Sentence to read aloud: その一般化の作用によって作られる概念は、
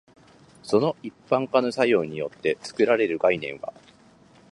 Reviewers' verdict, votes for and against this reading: accepted, 2, 0